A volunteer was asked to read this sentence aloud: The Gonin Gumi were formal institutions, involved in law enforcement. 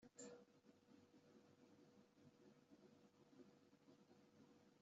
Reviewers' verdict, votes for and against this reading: rejected, 0, 2